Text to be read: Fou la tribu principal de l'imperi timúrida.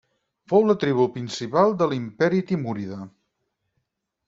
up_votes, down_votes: 2, 4